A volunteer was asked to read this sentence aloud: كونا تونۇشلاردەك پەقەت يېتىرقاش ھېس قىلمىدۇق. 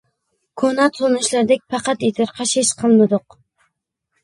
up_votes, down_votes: 1, 2